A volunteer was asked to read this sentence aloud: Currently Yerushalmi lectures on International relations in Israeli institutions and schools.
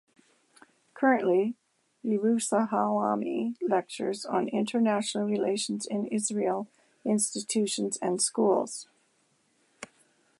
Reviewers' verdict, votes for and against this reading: rejected, 1, 2